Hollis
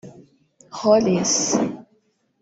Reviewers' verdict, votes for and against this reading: rejected, 1, 3